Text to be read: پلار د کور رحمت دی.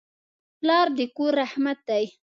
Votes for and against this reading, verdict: 2, 0, accepted